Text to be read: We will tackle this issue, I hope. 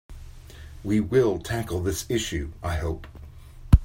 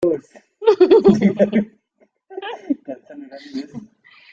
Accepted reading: first